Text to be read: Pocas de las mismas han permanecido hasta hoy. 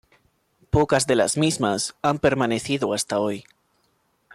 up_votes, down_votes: 2, 1